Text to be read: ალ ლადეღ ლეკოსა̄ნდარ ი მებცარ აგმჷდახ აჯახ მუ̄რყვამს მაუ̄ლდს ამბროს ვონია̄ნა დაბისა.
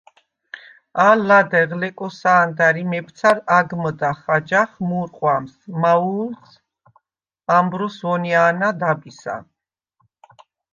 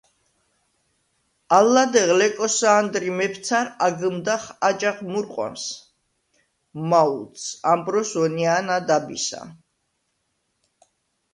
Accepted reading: first